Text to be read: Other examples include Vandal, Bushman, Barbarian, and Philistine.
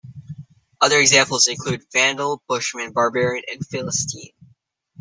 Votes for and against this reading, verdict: 2, 0, accepted